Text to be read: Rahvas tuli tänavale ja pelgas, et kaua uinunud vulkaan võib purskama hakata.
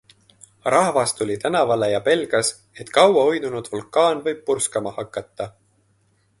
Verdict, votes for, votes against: accepted, 2, 0